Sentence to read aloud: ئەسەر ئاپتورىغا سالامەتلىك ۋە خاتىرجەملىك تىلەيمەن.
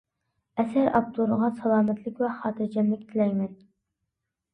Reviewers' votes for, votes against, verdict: 2, 0, accepted